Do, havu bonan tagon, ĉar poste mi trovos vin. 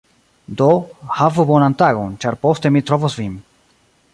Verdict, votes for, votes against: accepted, 3, 1